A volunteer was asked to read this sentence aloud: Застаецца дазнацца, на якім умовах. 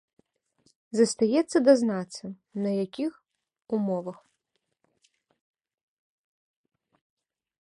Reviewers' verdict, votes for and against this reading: rejected, 1, 2